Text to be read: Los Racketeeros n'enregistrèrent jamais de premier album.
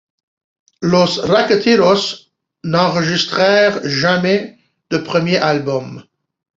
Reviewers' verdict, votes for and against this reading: accepted, 2, 0